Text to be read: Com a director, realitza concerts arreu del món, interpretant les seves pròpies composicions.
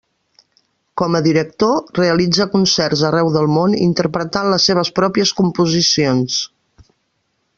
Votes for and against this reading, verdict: 5, 0, accepted